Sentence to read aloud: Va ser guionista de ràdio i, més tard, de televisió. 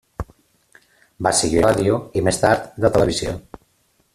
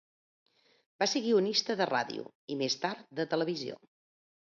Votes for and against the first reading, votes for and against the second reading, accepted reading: 0, 2, 2, 0, second